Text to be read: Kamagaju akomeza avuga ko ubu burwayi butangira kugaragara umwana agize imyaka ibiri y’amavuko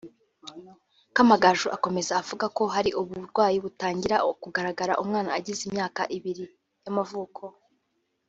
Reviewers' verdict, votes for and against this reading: rejected, 1, 2